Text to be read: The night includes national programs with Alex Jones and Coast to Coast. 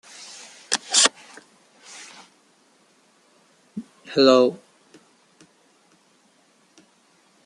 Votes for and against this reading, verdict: 0, 2, rejected